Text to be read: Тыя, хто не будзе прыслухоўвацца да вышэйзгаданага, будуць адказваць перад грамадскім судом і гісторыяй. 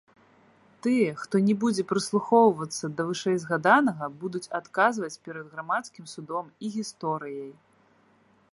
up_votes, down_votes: 2, 0